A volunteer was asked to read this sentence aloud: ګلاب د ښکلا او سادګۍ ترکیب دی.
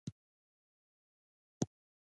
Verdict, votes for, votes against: rejected, 0, 2